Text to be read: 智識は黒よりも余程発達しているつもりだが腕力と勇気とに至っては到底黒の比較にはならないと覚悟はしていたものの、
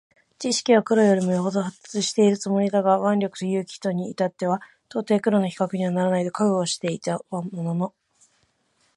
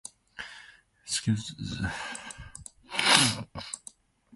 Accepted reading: first